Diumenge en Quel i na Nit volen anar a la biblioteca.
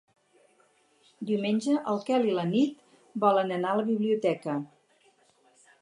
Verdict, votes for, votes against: rejected, 2, 2